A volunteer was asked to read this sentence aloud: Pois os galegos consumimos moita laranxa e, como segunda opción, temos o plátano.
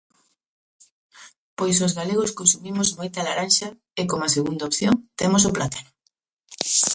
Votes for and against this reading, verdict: 2, 0, accepted